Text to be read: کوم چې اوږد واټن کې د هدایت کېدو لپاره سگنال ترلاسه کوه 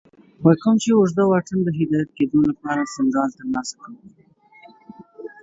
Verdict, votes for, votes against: rejected, 0, 2